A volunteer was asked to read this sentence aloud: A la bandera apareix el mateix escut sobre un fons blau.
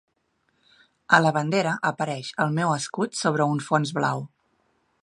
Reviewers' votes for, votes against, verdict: 1, 2, rejected